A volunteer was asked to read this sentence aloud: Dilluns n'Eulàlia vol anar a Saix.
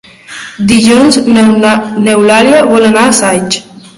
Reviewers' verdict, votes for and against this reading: rejected, 0, 2